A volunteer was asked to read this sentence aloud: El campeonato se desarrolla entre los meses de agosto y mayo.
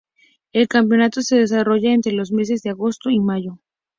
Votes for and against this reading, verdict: 2, 0, accepted